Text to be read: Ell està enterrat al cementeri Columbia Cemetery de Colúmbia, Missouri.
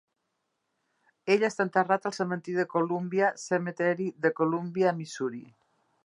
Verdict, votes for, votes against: rejected, 1, 2